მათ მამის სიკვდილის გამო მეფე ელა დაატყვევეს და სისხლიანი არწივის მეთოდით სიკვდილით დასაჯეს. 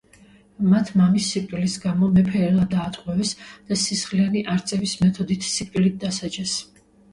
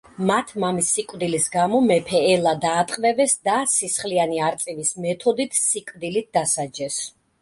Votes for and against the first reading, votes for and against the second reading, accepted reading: 0, 2, 2, 0, second